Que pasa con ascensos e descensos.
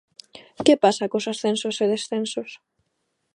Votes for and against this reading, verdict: 1, 2, rejected